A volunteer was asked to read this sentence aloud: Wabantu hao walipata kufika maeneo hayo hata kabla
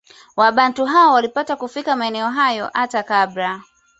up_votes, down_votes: 2, 0